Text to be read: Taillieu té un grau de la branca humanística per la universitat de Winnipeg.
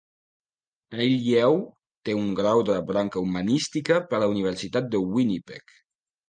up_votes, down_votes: 2, 1